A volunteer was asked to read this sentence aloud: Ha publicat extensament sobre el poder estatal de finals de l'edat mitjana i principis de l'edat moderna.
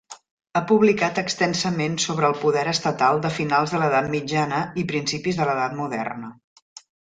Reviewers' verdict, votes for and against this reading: accepted, 3, 0